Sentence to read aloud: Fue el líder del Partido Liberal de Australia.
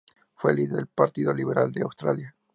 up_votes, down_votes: 2, 0